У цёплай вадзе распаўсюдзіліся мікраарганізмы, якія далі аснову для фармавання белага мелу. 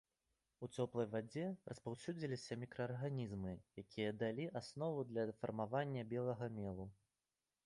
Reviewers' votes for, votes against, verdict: 2, 0, accepted